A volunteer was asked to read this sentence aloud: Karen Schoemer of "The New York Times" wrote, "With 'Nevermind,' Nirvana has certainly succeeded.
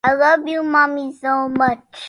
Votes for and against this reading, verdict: 0, 2, rejected